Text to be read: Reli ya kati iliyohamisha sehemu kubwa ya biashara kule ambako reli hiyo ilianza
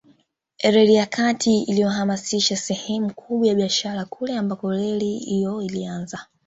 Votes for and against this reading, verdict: 0, 2, rejected